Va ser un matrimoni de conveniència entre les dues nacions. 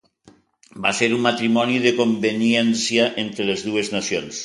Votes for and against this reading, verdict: 2, 0, accepted